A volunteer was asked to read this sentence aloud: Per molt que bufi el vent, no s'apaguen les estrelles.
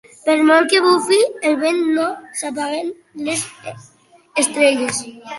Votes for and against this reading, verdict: 2, 1, accepted